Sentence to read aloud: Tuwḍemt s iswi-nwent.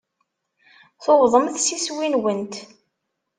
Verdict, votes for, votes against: accepted, 2, 0